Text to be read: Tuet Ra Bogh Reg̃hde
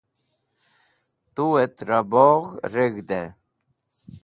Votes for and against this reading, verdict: 2, 0, accepted